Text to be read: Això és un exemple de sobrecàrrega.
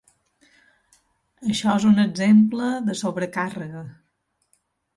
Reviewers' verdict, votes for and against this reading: accepted, 2, 0